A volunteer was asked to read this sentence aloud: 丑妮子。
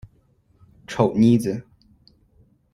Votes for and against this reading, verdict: 4, 0, accepted